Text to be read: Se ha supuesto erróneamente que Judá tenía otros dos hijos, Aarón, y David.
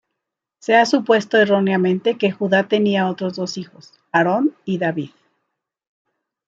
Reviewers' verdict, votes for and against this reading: accepted, 2, 0